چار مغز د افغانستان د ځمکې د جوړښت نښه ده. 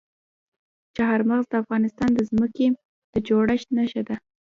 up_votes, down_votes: 2, 1